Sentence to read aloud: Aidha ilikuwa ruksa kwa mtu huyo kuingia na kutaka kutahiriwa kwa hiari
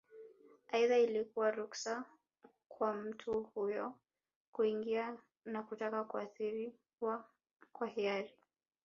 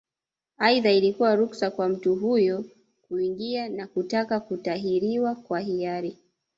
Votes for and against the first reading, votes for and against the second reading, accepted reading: 2, 0, 1, 2, first